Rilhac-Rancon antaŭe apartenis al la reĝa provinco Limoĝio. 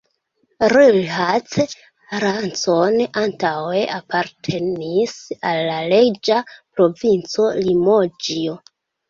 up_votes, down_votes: 0, 2